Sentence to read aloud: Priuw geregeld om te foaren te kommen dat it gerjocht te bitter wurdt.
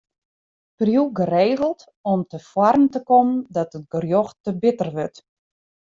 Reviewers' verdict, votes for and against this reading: accepted, 2, 0